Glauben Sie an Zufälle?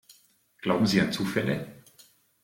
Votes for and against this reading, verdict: 2, 0, accepted